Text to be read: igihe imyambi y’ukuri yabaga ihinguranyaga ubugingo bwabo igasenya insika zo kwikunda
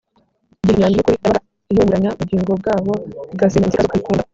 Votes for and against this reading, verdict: 1, 2, rejected